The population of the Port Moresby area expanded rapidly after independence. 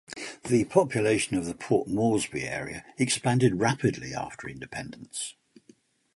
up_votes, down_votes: 2, 0